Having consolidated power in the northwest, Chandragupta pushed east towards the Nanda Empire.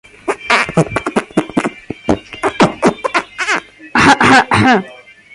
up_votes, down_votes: 0, 2